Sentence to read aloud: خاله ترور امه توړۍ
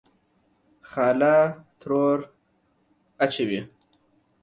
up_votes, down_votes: 0, 2